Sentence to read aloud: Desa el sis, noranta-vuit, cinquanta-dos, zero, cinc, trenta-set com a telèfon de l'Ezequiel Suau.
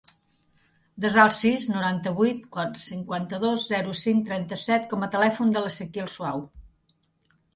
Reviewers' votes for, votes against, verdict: 0, 2, rejected